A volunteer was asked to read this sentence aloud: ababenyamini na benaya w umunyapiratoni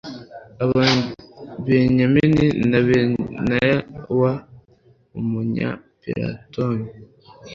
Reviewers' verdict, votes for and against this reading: rejected, 1, 2